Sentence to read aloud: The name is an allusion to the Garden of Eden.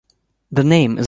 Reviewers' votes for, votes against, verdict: 0, 2, rejected